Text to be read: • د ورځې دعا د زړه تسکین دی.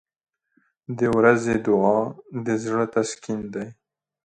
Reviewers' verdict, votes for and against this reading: accepted, 2, 0